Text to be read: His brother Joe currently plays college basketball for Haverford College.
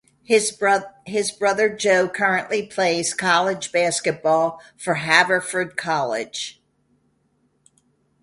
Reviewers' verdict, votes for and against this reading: rejected, 0, 2